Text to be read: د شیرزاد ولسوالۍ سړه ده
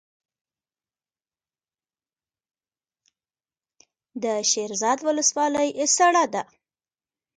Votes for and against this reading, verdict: 0, 2, rejected